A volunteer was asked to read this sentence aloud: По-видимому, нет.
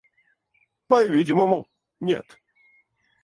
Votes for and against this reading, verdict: 0, 4, rejected